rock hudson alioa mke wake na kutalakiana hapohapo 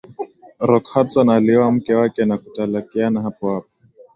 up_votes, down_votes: 2, 0